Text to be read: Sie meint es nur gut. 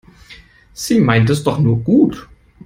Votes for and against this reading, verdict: 0, 2, rejected